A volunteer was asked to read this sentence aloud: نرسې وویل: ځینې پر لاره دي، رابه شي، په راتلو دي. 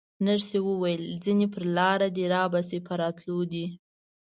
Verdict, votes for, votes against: accepted, 2, 0